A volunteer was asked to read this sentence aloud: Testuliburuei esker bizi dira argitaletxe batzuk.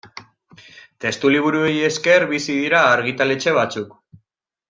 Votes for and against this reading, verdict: 2, 0, accepted